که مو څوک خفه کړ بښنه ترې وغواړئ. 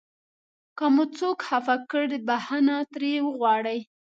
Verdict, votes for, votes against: accepted, 2, 0